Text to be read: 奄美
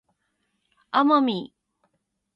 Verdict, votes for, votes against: accepted, 2, 0